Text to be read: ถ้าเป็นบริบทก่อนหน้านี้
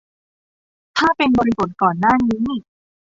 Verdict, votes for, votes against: rejected, 1, 2